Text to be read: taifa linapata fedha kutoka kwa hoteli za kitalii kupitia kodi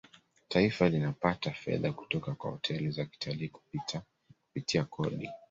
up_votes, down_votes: 2, 0